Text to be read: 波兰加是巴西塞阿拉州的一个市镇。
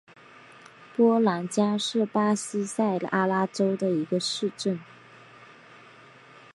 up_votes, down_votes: 2, 0